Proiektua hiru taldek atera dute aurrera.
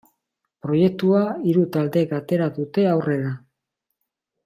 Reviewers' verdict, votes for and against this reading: accepted, 2, 0